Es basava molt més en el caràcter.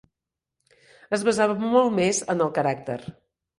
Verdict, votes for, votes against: accepted, 3, 1